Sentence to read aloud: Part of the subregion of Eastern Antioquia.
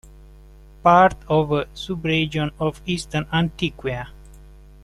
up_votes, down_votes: 1, 2